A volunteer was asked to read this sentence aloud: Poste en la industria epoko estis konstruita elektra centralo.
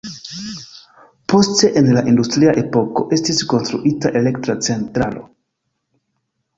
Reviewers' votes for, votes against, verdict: 2, 1, accepted